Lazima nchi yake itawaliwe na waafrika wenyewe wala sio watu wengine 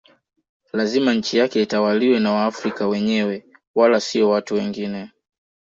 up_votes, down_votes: 2, 0